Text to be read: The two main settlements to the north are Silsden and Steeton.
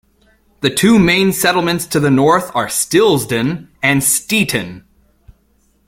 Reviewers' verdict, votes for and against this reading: rejected, 0, 2